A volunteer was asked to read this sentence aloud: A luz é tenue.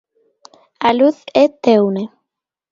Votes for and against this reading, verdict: 1, 3, rejected